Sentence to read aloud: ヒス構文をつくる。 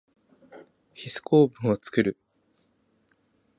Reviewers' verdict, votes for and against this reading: rejected, 1, 2